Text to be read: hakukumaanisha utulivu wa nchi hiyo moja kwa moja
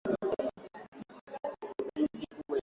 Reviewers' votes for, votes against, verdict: 0, 8, rejected